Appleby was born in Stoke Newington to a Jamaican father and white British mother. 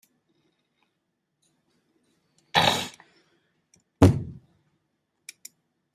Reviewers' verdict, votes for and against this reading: rejected, 0, 2